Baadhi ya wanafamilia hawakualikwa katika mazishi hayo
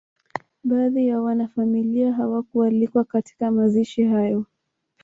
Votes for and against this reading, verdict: 1, 2, rejected